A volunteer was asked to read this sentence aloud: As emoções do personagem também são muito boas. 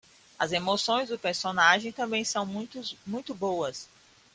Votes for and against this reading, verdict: 0, 2, rejected